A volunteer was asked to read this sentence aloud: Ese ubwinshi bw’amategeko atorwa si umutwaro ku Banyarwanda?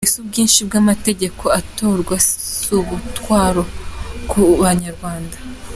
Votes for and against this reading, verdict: 2, 0, accepted